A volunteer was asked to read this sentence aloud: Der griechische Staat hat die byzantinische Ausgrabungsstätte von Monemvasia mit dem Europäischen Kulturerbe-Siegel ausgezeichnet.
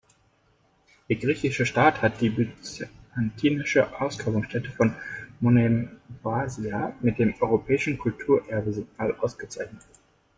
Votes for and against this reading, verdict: 0, 2, rejected